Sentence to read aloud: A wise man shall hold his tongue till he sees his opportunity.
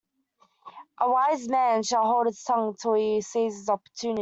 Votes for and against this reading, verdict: 2, 1, accepted